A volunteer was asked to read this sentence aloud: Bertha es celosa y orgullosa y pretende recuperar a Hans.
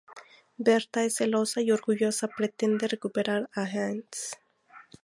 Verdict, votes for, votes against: rejected, 0, 2